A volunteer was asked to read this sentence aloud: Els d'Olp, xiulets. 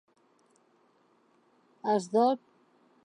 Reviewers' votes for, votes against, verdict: 1, 2, rejected